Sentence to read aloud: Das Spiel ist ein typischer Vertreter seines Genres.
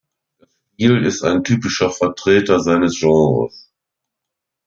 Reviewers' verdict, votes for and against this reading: rejected, 0, 2